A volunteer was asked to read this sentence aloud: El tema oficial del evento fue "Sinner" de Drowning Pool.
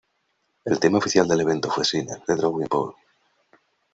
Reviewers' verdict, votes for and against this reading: rejected, 0, 2